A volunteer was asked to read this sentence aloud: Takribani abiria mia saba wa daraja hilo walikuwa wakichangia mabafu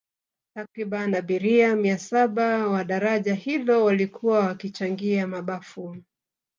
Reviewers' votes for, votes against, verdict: 3, 1, accepted